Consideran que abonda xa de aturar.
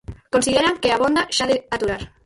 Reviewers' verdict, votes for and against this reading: rejected, 0, 4